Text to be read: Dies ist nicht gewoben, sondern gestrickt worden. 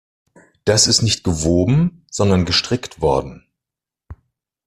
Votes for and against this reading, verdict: 2, 3, rejected